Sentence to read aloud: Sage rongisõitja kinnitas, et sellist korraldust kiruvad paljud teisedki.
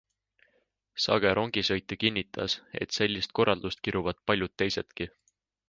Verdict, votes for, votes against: accepted, 4, 0